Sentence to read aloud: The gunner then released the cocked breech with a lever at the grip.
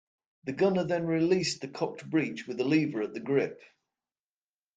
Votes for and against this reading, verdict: 2, 0, accepted